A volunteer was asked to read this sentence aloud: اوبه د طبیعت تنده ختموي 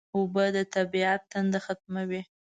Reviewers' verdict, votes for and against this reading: accepted, 2, 0